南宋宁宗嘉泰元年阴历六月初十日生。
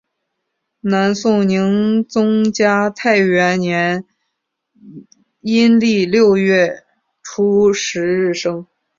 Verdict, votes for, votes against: accepted, 2, 1